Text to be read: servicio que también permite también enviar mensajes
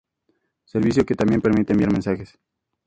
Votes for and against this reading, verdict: 2, 0, accepted